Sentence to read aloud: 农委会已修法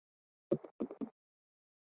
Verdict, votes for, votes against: rejected, 0, 4